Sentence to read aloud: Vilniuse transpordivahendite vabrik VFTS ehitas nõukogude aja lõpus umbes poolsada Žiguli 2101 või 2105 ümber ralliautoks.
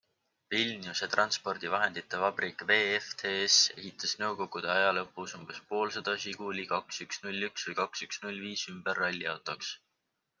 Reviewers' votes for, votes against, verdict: 0, 2, rejected